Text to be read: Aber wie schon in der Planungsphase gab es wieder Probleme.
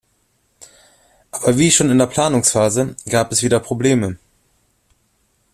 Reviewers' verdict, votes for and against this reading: accepted, 2, 1